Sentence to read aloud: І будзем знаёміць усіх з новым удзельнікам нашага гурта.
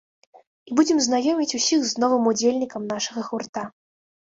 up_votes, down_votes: 1, 2